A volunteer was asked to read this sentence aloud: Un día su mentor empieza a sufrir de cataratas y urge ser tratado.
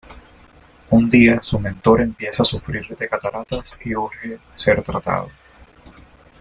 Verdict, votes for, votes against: accepted, 2, 0